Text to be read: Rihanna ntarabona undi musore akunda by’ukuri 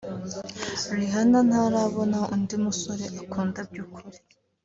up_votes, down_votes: 2, 0